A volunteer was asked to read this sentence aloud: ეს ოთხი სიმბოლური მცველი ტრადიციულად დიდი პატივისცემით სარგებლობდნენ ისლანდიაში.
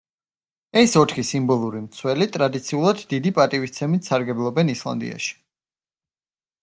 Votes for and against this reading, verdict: 0, 2, rejected